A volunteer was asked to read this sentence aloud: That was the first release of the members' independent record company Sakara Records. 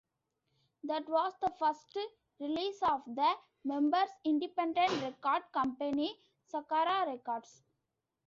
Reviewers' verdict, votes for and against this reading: rejected, 1, 2